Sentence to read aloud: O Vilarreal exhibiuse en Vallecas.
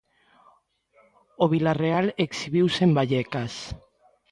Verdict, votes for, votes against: accepted, 2, 0